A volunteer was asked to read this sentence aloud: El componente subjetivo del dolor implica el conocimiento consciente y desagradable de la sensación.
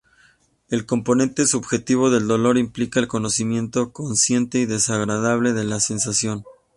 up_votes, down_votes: 2, 0